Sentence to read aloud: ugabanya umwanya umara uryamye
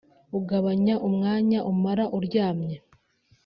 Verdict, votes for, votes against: accepted, 3, 0